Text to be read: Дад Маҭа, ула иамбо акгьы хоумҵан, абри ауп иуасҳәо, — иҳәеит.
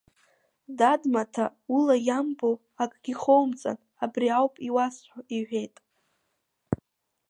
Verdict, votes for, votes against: rejected, 0, 2